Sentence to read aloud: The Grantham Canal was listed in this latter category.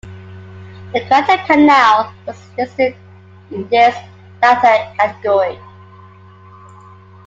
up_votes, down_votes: 2, 1